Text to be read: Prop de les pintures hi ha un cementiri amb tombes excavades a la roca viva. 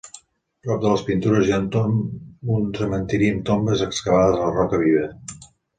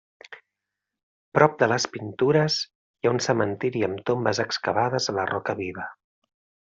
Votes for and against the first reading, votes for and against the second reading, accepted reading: 0, 3, 3, 0, second